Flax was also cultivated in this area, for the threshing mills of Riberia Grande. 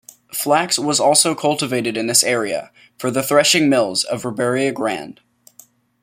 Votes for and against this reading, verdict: 2, 0, accepted